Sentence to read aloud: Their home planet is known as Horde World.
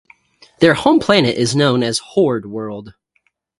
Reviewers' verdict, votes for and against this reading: accepted, 2, 0